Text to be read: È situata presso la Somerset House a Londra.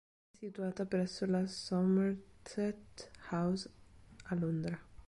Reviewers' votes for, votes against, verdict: 0, 2, rejected